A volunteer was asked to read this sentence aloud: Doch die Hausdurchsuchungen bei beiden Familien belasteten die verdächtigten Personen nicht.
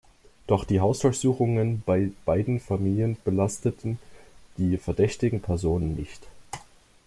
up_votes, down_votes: 2, 0